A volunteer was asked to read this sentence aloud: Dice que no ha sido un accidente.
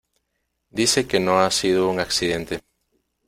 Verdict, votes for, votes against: accepted, 2, 0